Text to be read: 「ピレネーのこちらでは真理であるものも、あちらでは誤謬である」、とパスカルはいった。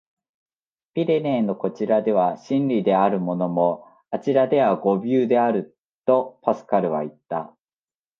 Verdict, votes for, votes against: accepted, 2, 0